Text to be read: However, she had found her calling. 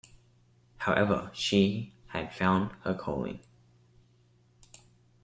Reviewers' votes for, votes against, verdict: 2, 0, accepted